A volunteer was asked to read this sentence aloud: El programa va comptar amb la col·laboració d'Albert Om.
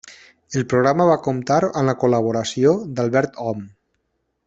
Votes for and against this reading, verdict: 2, 0, accepted